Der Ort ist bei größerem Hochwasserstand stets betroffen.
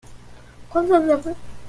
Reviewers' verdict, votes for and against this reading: rejected, 0, 2